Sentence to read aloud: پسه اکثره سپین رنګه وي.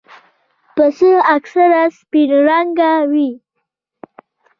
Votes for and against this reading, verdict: 2, 0, accepted